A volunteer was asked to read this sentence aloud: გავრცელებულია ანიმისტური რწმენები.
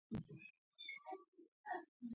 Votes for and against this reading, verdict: 2, 0, accepted